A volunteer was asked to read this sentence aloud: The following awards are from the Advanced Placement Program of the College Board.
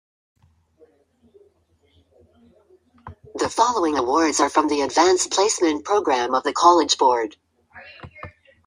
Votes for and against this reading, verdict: 2, 0, accepted